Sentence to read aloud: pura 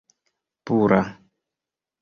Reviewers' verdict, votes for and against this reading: rejected, 1, 2